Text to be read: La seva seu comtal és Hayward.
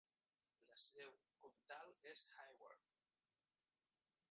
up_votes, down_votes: 0, 2